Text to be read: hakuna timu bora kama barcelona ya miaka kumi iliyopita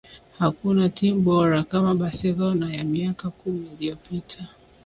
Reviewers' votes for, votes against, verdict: 7, 0, accepted